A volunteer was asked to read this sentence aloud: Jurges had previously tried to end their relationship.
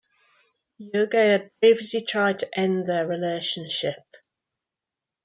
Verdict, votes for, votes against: rejected, 2, 3